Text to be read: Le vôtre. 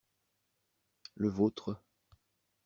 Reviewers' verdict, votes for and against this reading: accepted, 2, 0